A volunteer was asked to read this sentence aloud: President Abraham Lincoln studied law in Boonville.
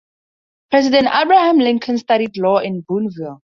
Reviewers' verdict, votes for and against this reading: accepted, 4, 0